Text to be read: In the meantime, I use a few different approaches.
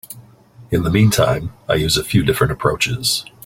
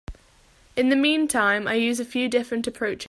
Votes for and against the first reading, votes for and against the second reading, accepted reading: 3, 0, 1, 2, first